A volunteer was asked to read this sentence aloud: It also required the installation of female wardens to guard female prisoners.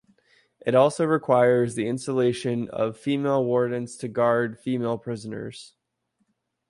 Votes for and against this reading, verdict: 0, 2, rejected